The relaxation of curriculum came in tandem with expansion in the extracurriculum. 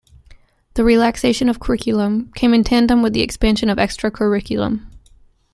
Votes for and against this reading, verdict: 2, 1, accepted